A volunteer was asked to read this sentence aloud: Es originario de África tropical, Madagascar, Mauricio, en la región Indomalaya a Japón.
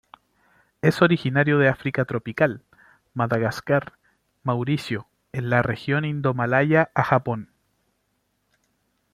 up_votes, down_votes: 2, 0